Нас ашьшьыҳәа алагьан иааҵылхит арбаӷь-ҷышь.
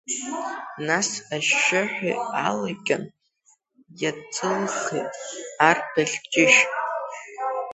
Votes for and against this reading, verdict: 0, 2, rejected